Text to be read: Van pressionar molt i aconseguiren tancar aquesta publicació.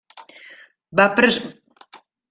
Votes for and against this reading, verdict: 0, 2, rejected